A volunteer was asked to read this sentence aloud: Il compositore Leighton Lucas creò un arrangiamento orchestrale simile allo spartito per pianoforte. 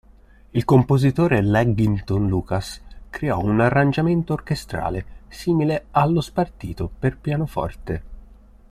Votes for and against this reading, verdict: 0, 2, rejected